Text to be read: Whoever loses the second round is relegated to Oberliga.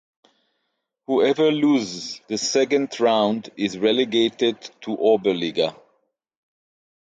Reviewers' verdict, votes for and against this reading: accepted, 6, 0